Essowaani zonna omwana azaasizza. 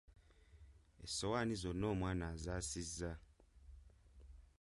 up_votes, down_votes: 2, 0